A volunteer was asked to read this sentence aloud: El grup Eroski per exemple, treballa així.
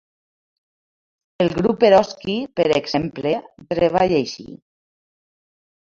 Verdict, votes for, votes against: rejected, 1, 2